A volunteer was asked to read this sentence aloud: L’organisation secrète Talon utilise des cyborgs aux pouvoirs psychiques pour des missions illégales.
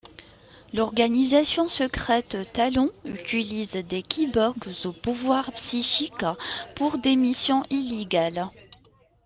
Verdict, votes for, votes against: rejected, 0, 2